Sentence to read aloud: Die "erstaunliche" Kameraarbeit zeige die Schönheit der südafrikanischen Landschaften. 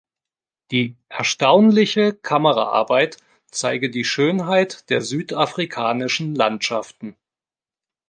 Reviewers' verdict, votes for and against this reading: accepted, 2, 0